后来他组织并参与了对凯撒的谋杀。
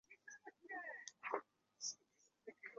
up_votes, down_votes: 0, 3